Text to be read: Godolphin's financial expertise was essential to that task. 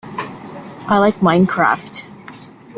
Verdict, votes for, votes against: rejected, 0, 2